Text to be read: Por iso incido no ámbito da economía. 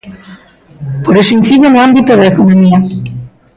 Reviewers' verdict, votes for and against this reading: rejected, 1, 2